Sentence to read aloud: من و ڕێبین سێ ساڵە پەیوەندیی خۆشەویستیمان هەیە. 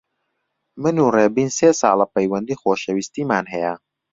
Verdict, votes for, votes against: accepted, 3, 0